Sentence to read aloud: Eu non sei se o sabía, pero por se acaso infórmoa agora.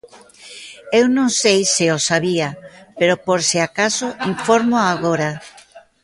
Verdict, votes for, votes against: accepted, 2, 0